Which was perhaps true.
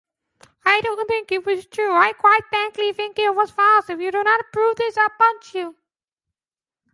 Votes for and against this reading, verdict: 0, 2, rejected